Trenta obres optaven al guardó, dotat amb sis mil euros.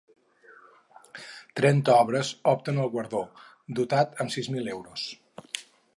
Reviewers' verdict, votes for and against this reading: rejected, 0, 4